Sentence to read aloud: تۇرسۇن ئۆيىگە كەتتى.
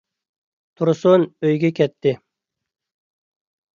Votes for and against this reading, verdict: 2, 0, accepted